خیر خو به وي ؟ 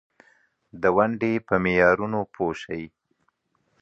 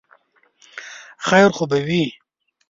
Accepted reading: second